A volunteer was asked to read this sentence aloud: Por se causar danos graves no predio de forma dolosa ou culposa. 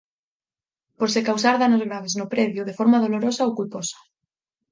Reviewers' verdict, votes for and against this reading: rejected, 2, 4